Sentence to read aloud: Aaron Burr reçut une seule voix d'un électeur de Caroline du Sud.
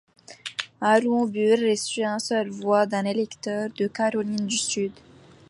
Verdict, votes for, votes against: rejected, 0, 2